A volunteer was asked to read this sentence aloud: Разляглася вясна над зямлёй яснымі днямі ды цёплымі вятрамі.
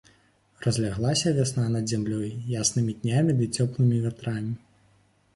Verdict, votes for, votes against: accepted, 2, 0